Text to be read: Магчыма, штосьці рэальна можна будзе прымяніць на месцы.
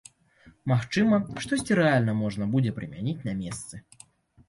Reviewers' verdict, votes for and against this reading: accepted, 2, 0